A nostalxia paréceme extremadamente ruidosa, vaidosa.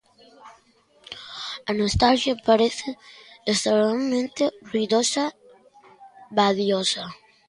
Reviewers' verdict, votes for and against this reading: rejected, 0, 2